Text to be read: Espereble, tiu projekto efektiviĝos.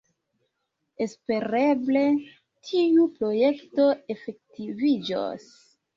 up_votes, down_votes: 1, 2